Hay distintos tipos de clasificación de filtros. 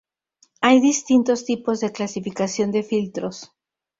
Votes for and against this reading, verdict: 0, 2, rejected